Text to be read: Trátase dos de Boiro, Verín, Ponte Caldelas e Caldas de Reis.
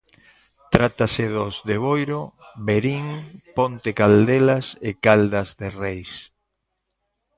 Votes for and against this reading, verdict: 0, 2, rejected